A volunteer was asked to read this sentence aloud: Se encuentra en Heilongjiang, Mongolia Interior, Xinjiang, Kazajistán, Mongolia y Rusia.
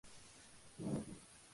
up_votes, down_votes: 0, 2